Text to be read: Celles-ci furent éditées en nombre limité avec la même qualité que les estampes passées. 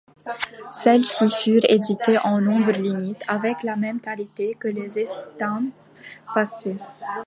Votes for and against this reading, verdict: 0, 2, rejected